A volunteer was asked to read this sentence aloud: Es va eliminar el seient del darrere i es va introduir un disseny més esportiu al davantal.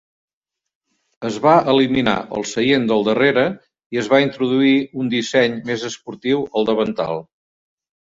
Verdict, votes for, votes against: accepted, 5, 0